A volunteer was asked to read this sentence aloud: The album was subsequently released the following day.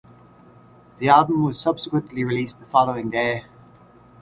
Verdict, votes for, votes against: accepted, 2, 0